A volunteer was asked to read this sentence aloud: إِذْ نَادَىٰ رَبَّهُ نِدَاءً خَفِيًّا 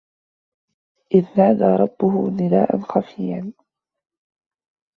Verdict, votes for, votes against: rejected, 1, 2